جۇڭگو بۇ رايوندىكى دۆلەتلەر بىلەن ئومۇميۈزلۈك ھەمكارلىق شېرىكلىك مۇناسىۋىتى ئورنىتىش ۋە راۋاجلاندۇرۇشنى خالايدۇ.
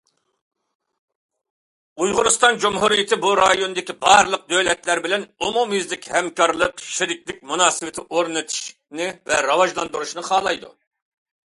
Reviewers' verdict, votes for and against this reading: rejected, 0, 2